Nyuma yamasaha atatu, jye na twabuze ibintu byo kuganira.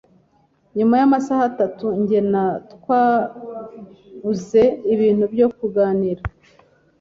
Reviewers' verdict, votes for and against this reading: accepted, 2, 0